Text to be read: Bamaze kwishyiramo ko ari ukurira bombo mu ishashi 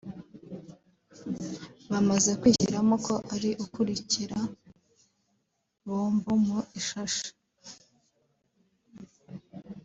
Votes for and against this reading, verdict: 0, 2, rejected